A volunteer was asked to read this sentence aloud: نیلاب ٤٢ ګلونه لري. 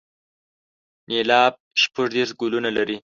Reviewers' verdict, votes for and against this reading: rejected, 0, 2